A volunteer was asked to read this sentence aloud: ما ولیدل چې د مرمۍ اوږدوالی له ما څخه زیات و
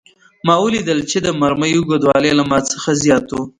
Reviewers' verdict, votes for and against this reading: accepted, 2, 1